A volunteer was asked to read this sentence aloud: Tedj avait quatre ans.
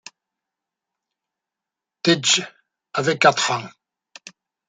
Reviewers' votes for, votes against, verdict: 0, 2, rejected